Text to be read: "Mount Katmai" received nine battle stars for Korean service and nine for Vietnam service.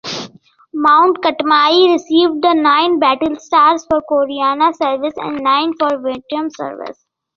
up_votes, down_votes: 2, 3